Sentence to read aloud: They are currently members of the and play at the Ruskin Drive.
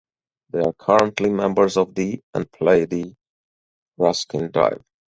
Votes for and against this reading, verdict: 0, 4, rejected